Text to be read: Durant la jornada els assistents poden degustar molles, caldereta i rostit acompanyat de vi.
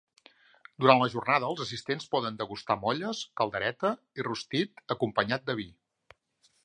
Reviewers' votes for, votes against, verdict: 2, 0, accepted